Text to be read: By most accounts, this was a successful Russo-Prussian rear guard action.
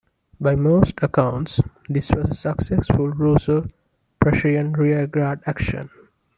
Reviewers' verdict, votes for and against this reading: accepted, 2, 0